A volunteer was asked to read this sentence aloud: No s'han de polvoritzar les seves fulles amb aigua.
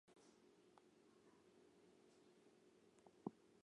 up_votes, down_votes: 0, 2